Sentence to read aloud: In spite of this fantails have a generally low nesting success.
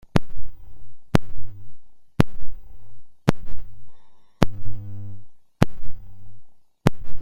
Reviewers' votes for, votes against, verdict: 0, 2, rejected